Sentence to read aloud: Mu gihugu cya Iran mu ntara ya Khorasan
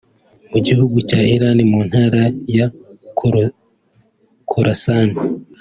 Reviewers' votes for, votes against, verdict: 0, 2, rejected